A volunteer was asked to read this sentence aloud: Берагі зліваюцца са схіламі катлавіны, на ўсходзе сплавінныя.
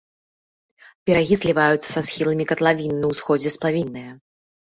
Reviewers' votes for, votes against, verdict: 1, 2, rejected